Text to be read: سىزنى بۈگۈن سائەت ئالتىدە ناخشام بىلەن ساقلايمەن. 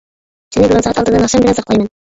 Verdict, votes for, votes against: rejected, 0, 2